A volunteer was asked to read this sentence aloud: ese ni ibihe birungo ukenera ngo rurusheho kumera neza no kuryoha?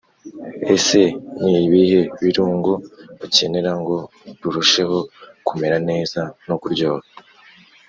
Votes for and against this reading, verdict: 3, 0, accepted